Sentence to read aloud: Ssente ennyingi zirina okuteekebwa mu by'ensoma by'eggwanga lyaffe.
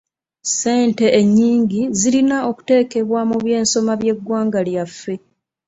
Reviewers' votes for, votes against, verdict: 2, 0, accepted